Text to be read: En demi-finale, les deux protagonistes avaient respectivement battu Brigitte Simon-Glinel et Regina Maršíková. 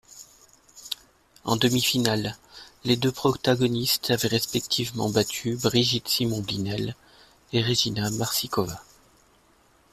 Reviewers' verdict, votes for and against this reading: accepted, 2, 1